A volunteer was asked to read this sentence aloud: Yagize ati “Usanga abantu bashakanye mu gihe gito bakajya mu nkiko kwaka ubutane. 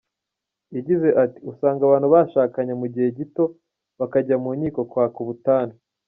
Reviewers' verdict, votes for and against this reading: accepted, 2, 0